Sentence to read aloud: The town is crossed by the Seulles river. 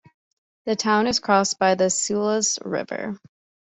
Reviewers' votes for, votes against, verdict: 3, 0, accepted